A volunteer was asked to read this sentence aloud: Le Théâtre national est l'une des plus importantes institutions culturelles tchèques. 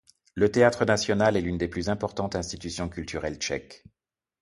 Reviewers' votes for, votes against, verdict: 3, 0, accepted